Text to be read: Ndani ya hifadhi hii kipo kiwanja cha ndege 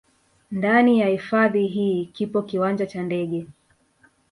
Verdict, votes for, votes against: rejected, 1, 2